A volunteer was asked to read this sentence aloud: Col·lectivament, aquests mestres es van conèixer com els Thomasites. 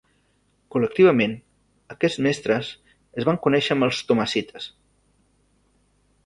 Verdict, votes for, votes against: rejected, 1, 2